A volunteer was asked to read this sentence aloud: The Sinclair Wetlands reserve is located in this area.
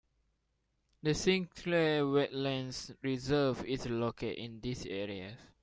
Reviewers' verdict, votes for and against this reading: rejected, 0, 2